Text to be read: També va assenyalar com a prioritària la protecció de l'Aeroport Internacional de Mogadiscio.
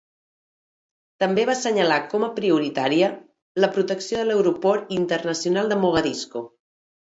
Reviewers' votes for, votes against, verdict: 0, 2, rejected